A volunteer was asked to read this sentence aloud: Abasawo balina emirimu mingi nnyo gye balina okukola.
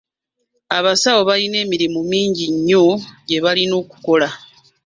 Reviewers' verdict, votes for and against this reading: accepted, 2, 1